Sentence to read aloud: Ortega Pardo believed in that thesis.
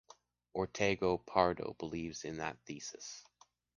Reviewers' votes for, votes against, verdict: 2, 1, accepted